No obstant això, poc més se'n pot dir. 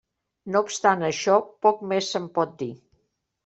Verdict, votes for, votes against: accepted, 3, 0